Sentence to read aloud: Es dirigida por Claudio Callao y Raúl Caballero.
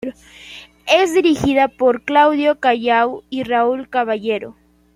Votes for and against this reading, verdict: 2, 0, accepted